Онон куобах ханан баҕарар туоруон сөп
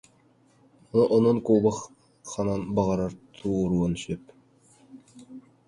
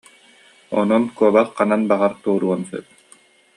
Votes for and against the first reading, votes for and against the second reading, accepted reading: 0, 2, 2, 0, second